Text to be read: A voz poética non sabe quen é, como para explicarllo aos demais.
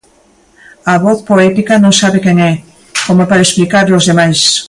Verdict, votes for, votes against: accepted, 2, 0